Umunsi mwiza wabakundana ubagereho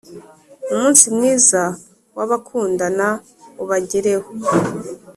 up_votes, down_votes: 4, 0